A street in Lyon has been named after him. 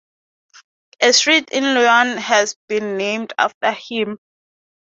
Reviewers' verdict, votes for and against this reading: accepted, 2, 0